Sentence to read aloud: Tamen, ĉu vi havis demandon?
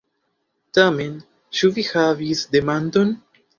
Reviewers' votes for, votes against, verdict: 2, 0, accepted